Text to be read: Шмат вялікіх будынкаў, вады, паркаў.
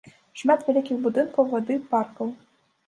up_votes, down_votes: 1, 2